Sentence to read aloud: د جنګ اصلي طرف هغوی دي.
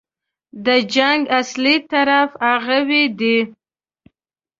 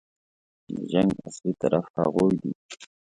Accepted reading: second